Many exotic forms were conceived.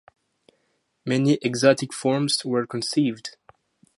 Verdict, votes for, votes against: accepted, 2, 0